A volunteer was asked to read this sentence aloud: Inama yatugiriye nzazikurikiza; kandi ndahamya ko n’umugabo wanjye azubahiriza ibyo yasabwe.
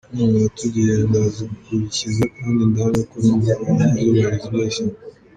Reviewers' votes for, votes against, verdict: 0, 2, rejected